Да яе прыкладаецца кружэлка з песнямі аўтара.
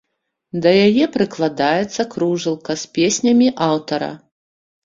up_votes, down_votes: 2, 1